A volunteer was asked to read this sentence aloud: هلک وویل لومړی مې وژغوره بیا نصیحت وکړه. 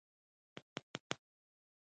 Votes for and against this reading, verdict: 1, 2, rejected